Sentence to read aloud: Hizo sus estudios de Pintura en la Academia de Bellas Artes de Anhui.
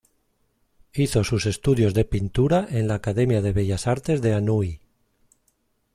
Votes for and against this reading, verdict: 2, 0, accepted